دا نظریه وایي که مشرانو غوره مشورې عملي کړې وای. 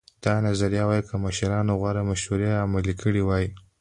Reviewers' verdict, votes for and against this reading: accepted, 2, 0